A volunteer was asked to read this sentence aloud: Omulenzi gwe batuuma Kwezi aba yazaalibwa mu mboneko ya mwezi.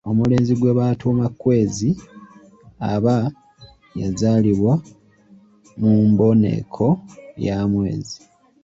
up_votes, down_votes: 2, 0